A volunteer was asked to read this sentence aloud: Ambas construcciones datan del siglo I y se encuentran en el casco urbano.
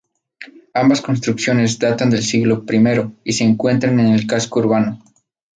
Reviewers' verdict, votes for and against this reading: accepted, 2, 0